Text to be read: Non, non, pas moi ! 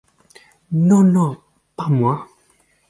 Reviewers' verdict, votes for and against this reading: accepted, 4, 0